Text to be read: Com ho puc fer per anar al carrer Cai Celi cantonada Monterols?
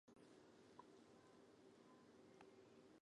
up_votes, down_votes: 0, 2